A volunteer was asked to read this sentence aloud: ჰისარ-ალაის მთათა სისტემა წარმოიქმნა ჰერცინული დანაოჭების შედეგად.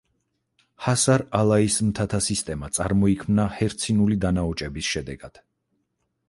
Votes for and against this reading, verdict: 2, 4, rejected